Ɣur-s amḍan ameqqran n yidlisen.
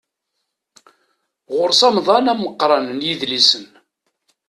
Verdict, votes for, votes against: accepted, 2, 0